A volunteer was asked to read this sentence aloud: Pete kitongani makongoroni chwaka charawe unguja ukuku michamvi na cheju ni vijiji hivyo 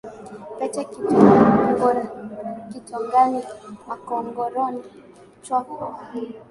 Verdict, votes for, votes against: rejected, 0, 2